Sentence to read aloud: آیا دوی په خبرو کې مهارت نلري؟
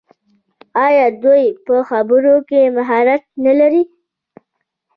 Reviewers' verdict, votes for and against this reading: rejected, 0, 2